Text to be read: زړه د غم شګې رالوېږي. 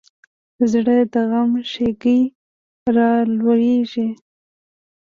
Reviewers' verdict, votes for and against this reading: accepted, 2, 0